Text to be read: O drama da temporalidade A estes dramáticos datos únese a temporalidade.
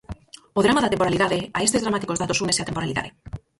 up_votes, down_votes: 2, 4